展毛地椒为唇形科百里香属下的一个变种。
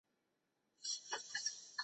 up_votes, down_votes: 0, 3